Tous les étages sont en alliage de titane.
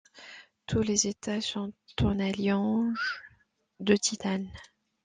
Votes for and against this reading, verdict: 0, 2, rejected